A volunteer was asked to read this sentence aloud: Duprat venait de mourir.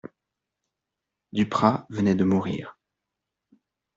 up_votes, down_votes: 2, 0